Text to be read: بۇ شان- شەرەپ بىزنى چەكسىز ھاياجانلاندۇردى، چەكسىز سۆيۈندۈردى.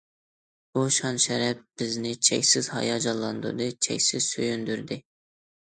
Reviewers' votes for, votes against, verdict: 2, 1, accepted